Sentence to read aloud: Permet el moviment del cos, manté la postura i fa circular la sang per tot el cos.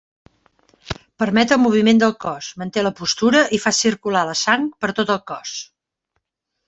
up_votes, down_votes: 2, 0